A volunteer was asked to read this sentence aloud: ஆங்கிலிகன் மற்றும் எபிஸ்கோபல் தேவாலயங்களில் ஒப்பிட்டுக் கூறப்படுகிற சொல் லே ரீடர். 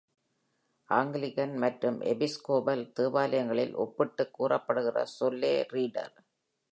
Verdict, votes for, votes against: accepted, 2, 0